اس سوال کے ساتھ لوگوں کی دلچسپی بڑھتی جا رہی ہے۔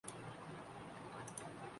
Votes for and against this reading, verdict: 1, 2, rejected